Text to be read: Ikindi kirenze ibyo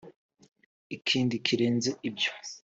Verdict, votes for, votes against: accepted, 2, 0